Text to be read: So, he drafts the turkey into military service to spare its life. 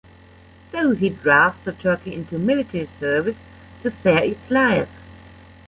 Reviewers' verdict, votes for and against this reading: rejected, 1, 2